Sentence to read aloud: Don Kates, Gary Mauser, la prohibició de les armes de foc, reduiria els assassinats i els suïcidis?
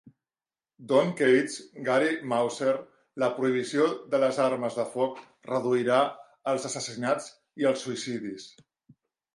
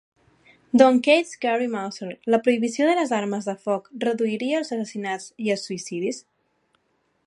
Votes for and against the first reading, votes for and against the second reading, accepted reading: 0, 2, 2, 0, second